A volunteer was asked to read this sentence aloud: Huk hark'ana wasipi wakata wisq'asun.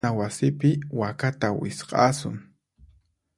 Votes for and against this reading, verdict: 2, 4, rejected